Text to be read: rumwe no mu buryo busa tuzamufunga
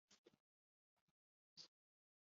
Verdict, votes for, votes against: rejected, 0, 2